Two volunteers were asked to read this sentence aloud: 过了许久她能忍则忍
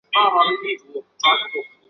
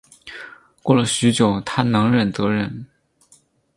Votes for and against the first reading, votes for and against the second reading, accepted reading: 0, 2, 2, 0, second